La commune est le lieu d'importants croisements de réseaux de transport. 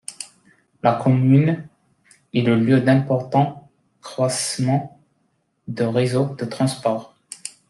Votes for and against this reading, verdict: 1, 2, rejected